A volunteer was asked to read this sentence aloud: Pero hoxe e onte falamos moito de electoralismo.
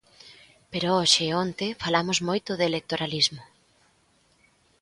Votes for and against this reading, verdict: 2, 0, accepted